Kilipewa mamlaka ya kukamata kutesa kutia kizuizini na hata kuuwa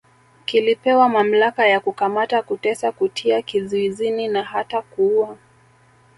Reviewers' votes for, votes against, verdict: 2, 1, accepted